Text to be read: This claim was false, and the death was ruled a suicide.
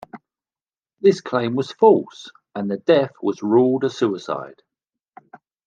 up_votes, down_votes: 2, 0